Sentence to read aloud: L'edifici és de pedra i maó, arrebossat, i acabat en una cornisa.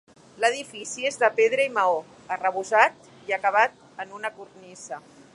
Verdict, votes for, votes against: accepted, 3, 0